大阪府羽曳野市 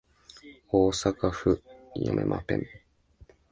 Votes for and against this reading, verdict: 0, 2, rejected